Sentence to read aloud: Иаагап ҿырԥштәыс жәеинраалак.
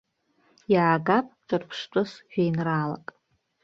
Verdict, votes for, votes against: accepted, 2, 0